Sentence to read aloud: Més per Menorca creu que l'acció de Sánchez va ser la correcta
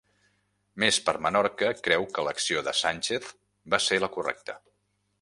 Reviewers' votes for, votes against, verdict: 1, 2, rejected